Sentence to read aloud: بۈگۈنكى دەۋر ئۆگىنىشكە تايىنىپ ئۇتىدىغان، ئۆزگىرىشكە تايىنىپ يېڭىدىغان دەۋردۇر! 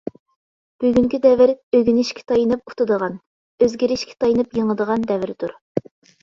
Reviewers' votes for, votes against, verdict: 2, 0, accepted